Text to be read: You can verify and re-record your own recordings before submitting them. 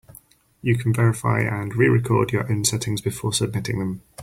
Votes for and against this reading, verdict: 0, 4, rejected